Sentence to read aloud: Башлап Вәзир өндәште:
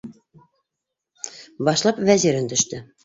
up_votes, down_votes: 3, 1